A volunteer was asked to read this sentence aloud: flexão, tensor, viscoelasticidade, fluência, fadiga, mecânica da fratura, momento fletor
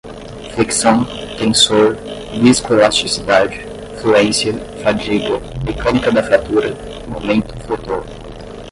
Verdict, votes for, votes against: accepted, 10, 0